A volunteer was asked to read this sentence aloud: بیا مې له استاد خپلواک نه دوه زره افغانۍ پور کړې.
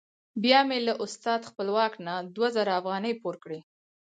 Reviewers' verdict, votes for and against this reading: accepted, 4, 0